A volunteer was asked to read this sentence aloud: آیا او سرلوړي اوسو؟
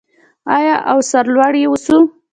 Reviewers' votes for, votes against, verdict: 2, 0, accepted